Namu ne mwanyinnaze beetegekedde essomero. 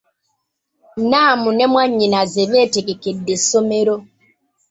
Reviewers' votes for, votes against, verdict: 2, 1, accepted